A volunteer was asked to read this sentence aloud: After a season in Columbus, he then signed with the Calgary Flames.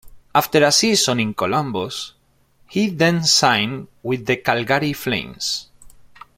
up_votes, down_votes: 2, 0